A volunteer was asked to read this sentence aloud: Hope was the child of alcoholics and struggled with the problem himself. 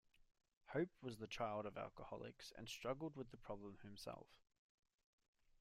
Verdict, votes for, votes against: accepted, 2, 0